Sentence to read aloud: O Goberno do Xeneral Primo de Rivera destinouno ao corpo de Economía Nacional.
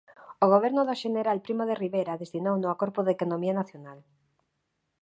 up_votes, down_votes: 2, 0